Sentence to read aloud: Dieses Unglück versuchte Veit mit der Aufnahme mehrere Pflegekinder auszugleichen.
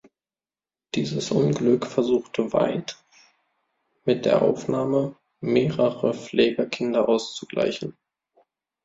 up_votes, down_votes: 1, 2